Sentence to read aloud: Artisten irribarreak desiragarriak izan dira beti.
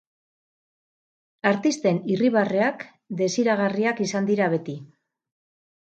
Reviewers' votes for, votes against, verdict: 2, 2, rejected